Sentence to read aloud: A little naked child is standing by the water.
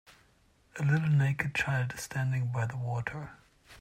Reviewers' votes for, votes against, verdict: 4, 0, accepted